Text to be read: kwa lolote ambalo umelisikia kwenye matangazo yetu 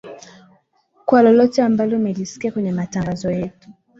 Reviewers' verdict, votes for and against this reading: accepted, 13, 0